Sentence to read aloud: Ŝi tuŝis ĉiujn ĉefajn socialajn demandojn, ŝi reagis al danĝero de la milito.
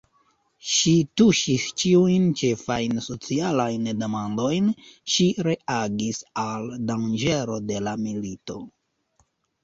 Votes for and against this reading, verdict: 0, 2, rejected